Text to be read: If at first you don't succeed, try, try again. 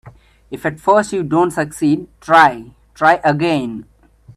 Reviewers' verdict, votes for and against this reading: rejected, 1, 2